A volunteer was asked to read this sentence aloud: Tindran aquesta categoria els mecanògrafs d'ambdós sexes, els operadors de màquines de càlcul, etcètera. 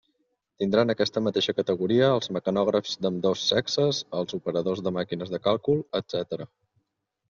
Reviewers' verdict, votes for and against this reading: rejected, 1, 2